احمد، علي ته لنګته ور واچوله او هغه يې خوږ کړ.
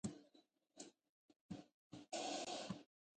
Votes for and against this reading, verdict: 1, 2, rejected